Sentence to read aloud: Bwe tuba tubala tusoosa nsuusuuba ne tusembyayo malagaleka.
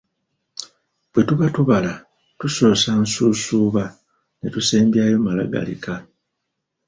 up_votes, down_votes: 1, 2